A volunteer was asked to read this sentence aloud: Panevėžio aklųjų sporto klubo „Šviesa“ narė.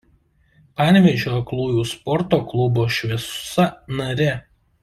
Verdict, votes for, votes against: rejected, 1, 2